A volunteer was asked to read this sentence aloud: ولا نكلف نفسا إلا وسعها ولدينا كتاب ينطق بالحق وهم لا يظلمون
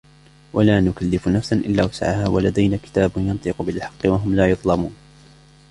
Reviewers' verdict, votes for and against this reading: rejected, 1, 2